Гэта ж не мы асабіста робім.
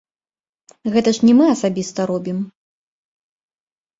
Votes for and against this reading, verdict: 2, 0, accepted